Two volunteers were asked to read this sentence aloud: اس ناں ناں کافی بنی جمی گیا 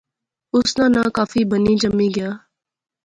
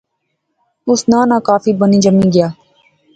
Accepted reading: first